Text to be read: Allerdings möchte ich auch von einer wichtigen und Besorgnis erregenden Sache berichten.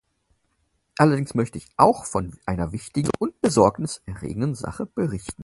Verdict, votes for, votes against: accepted, 4, 0